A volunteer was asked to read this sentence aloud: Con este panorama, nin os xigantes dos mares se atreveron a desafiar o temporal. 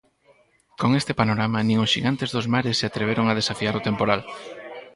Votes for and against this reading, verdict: 2, 4, rejected